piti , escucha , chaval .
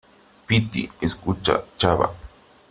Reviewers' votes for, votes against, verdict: 0, 3, rejected